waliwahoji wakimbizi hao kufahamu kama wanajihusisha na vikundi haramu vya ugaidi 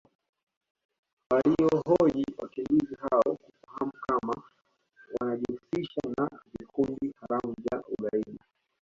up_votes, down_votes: 0, 2